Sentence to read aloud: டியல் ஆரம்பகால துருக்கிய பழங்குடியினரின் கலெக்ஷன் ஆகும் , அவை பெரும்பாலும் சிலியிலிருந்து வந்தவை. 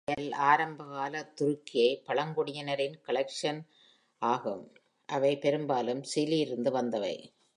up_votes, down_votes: 1, 2